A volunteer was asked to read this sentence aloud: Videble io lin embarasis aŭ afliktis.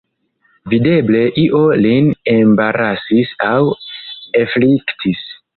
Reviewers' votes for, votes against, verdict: 0, 2, rejected